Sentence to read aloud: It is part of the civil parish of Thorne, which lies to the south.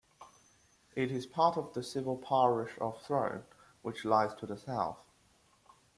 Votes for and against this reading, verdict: 0, 2, rejected